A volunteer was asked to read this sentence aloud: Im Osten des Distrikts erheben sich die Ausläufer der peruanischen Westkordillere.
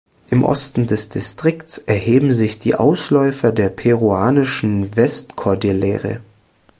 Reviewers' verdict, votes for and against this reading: accepted, 2, 0